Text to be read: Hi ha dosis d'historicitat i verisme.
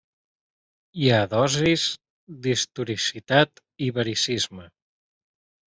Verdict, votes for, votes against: rejected, 0, 2